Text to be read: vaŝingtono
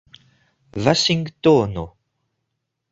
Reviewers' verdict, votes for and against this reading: accepted, 2, 1